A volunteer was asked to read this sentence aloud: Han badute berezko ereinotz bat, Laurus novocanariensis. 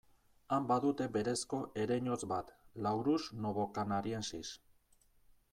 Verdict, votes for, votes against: accepted, 2, 0